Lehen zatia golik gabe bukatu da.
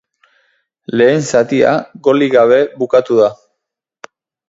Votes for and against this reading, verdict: 4, 0, accepted